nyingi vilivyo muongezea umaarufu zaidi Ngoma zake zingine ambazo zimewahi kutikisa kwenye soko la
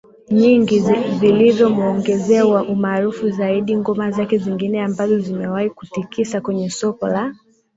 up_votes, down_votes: 2, 1